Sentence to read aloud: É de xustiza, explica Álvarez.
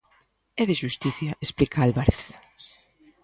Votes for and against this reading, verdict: 0, 2, rejected